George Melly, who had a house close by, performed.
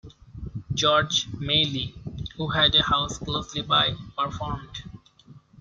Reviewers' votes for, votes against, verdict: 1, 2, rejected